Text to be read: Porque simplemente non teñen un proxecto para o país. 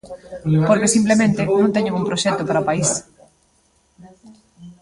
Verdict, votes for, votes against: rejected, 1, 2